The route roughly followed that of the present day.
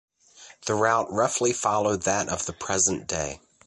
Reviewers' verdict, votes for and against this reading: accepted, 2, 1